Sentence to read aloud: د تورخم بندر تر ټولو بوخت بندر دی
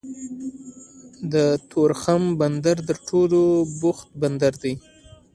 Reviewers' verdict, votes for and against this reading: accepted, 2, 0